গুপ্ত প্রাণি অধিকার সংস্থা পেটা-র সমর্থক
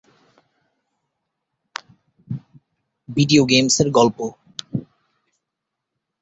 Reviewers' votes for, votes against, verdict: 0, 2, rejected